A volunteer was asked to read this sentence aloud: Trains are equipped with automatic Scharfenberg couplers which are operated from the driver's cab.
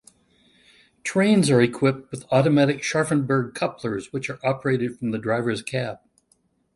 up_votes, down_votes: 2, 0